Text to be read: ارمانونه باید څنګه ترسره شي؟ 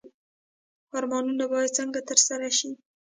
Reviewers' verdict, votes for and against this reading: accepted, 2, 1